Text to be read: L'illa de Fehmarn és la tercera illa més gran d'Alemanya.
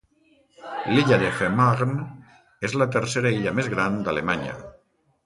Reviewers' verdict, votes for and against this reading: rejected, 1, 2